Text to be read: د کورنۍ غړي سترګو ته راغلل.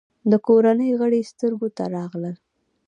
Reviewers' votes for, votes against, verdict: 1, 2, rejected